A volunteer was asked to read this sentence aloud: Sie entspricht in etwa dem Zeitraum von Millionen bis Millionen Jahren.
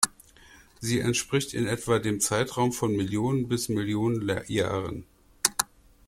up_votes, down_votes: 0, 2